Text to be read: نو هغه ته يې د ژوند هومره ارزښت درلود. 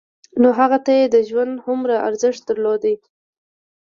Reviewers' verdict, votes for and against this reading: rejected, 1, 2